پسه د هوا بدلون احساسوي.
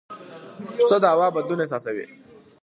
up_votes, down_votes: 2, 1